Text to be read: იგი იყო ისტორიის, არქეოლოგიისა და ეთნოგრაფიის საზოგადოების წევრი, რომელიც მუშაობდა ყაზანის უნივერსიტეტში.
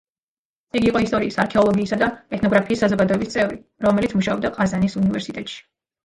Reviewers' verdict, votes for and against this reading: rejected, 0, 2